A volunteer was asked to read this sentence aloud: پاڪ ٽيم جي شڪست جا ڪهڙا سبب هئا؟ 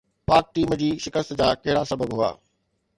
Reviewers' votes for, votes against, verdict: 2, 0, accepted